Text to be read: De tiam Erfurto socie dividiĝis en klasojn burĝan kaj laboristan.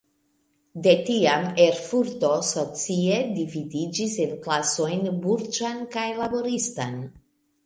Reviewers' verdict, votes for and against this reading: accepted, 2, 0